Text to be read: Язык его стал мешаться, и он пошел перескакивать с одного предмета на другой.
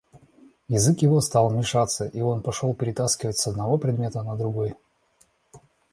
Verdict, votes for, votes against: rejected, 0, 2